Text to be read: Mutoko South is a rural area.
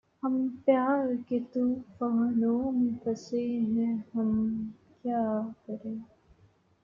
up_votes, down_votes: 0, 2